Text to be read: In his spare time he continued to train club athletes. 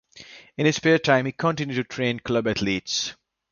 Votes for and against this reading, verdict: 2, 0, accepted